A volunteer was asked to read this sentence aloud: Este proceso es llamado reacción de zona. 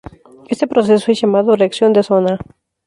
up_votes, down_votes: 0, 2